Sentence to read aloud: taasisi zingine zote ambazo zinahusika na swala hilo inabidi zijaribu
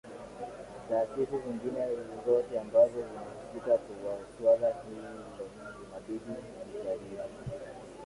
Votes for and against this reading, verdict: 0, 2, rejected